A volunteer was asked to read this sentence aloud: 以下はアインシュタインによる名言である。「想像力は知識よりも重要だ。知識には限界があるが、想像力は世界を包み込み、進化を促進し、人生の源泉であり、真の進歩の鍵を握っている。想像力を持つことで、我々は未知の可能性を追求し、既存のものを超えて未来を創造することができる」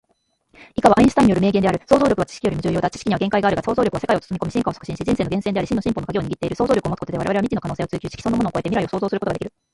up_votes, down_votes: 0, 2